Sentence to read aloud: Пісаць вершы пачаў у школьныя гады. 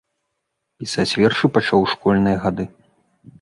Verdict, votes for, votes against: accepted, 2, 0